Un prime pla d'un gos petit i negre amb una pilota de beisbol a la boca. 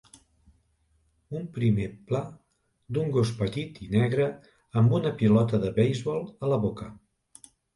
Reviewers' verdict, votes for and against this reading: accepted, 2, 0